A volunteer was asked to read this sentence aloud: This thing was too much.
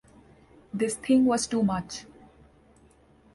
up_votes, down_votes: 2, 0